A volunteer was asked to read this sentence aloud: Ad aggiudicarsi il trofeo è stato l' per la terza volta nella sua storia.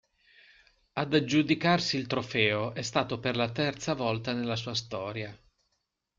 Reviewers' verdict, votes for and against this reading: rejected, 0, 2